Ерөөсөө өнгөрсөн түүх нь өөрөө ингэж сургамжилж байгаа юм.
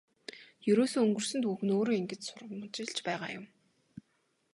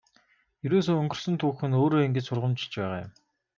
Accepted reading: first